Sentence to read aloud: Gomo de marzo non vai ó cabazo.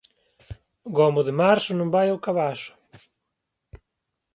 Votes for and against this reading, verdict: 2, 0, accepted